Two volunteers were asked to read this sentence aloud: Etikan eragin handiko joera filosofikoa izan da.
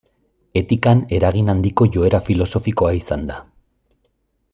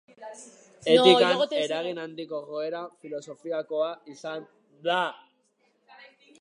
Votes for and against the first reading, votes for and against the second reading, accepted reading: 2, 0, 1, 2, first